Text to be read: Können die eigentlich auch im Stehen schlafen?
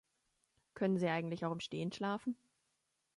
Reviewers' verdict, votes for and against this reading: rejected, 0, 2